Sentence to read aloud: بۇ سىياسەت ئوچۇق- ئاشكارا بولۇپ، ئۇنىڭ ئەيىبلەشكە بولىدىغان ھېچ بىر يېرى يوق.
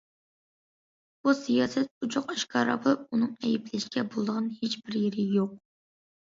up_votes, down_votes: 2, 1